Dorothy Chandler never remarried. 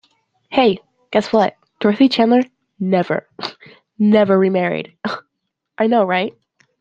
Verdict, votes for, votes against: rejected, 1, 2